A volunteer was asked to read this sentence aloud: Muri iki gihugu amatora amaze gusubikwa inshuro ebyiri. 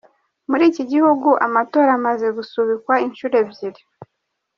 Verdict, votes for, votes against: accepted, 2, 0